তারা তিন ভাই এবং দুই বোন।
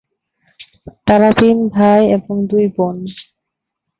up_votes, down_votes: 19, 2